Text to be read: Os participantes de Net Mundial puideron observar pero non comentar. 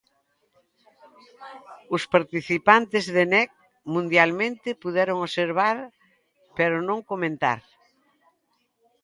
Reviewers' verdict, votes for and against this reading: rejected, 1, 2